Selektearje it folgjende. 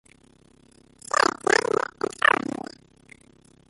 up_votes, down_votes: 0, 2